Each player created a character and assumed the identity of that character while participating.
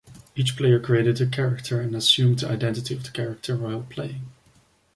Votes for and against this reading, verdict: 0, 2, rejected